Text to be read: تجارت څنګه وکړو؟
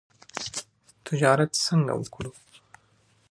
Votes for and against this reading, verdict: 0, 2, rejected